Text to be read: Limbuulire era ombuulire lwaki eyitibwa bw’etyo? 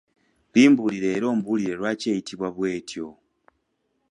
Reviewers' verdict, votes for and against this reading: accepted, 2, 0